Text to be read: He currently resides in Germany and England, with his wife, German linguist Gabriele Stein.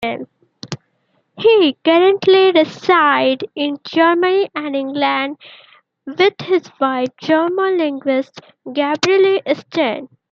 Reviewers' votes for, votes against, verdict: 0, 2, rejected